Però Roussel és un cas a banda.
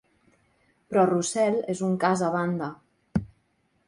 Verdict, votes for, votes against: accepted, 2, 0